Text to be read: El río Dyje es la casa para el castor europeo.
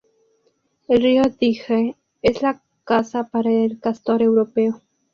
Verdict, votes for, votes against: accepted, 2, 0